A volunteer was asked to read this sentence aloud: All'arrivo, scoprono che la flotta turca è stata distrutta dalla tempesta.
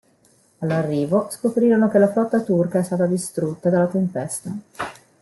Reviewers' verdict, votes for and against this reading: rejected, 0, 2